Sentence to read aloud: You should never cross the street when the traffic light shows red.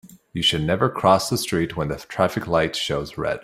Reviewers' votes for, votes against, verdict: 3, 0, accepted